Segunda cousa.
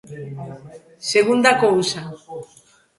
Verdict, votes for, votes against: accepted, 2, 0